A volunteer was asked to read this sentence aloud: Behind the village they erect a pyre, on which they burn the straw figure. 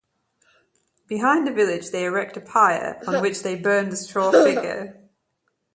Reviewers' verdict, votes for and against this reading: rejected, 0, 2